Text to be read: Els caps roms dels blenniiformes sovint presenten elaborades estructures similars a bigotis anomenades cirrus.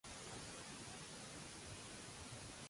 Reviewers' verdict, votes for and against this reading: rejected, 0, 2